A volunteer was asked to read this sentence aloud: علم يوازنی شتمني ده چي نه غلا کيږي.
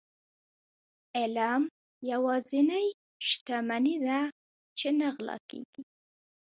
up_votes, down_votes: 2, 0